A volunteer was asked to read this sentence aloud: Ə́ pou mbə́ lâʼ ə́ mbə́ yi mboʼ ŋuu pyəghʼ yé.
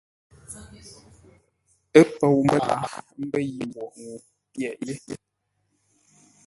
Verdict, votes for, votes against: rejected, 1, 2